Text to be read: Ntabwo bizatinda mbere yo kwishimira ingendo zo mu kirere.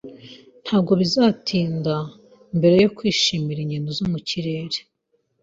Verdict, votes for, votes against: accepted, 2, 0